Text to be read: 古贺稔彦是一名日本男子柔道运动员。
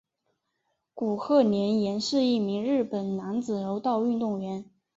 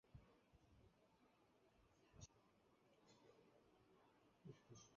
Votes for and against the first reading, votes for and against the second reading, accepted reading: 6, 1, 0, 3, first